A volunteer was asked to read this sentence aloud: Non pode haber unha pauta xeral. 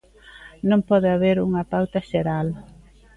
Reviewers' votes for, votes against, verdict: 2, 0, accepted